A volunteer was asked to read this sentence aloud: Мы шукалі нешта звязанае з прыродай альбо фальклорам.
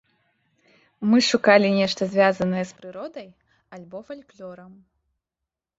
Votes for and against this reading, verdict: 0, 2, rejected